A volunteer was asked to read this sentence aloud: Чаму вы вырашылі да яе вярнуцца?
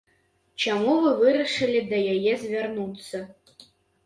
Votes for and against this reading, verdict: 0, 2, rejected